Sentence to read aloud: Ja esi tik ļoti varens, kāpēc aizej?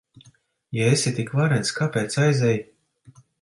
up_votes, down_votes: 0, 2